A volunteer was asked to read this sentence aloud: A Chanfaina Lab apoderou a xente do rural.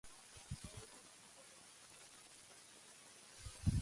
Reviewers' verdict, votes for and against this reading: rejected, 0, 2